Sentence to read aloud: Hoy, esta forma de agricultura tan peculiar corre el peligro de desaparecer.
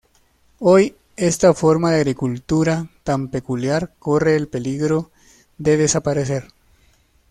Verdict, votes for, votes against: accepted, 2, 0